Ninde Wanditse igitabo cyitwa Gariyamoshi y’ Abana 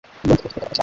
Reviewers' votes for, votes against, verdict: 1, 3, rejected